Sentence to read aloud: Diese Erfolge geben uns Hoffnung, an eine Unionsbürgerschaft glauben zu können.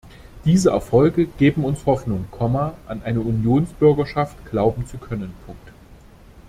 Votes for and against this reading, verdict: 0, 2, rejected